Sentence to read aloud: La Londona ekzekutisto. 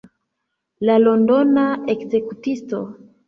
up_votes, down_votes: 2, 0